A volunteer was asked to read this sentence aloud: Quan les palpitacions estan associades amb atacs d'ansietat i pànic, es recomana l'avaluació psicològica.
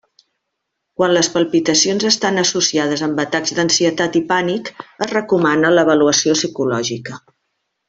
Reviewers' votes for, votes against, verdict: 2, 0, accepted